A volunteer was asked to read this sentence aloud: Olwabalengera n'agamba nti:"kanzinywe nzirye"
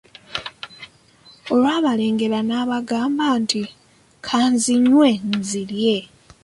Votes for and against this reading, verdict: 2, 0, accepted